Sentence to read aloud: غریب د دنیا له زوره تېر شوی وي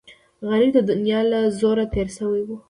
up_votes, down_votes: 2, 0